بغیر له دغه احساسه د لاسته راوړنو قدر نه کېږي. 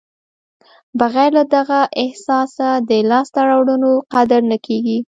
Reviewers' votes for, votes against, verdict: 2, 0, accepted